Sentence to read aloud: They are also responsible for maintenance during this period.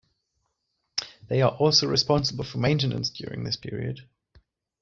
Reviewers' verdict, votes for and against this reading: accepted, 2, 0